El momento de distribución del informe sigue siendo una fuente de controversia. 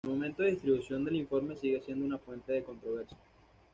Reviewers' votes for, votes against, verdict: 2, 0, accepted